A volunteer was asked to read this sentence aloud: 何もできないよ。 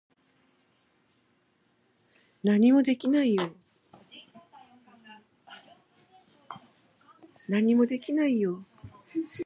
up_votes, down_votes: 0, 2